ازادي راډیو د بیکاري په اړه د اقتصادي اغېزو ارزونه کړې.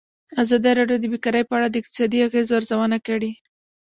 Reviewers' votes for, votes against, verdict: 1, 2, rejected